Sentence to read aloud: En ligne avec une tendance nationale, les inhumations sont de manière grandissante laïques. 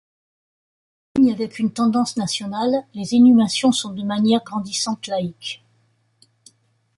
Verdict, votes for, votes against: rejected, 0, 2